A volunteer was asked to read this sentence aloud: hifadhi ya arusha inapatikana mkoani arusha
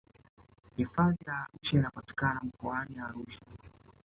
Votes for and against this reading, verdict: 0, 2, rejected